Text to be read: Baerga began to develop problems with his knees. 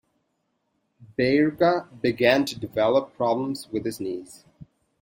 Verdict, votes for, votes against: accepted, 2, 0